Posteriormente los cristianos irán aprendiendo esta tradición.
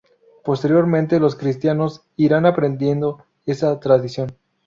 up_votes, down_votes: 4, 2